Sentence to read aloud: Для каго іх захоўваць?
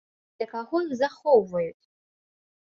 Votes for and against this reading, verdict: 1, 2, rejected